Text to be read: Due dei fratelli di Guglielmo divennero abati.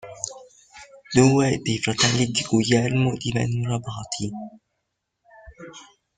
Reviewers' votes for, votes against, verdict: 1, 2, rejected